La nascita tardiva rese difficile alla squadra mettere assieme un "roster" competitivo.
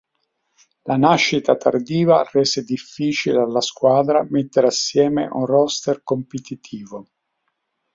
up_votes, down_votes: 6, 0